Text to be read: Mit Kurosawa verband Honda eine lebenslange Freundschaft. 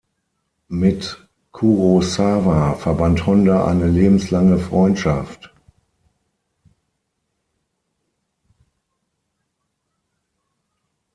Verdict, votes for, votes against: accepted, 6, 0